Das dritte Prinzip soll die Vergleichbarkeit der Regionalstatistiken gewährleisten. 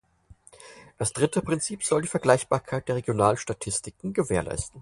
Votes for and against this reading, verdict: 4, 2, accepted